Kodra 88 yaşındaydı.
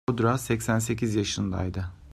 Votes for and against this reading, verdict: 0, 2, rejected